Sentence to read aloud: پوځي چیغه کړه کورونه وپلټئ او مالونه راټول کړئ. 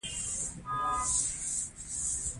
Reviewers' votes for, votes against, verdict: 0, 2, rejected